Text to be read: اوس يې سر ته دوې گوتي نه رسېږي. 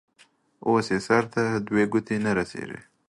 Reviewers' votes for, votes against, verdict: 2, 1, accepted